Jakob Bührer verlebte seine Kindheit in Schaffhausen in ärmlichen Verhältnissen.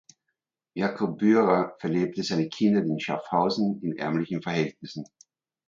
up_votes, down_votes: 1, 2